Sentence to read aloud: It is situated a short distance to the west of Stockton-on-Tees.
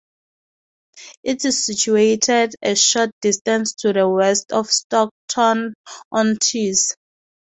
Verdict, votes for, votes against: accepted, 2, 0